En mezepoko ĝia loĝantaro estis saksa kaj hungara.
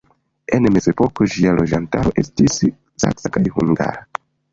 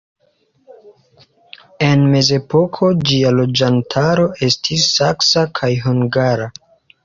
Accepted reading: second